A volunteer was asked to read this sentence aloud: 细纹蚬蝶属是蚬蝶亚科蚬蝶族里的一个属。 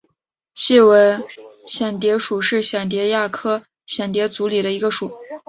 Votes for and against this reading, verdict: 2, 0, accepted